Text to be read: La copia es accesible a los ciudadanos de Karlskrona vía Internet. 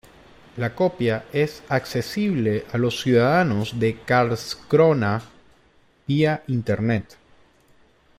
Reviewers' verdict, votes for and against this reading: rejected, 1, 2